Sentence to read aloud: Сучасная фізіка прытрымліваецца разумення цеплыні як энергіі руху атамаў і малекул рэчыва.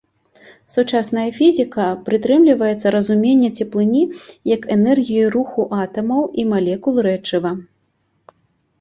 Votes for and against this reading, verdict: 2, 0, accepted